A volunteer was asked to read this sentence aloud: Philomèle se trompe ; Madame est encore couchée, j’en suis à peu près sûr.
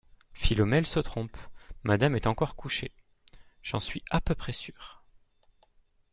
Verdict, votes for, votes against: accepted, 2, 0